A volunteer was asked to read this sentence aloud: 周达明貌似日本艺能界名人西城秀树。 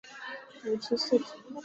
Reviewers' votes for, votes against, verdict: 0, 2, rejected